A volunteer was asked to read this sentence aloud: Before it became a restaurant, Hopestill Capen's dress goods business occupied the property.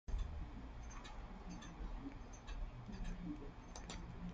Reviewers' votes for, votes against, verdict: 0, 2, rejected